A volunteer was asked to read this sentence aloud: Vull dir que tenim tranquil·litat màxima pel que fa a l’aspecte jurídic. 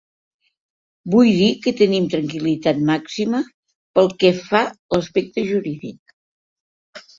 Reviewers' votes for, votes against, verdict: 2, 1, accepted